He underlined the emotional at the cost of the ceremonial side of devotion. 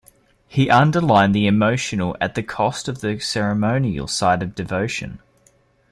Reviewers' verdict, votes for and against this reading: accepted, 2, 0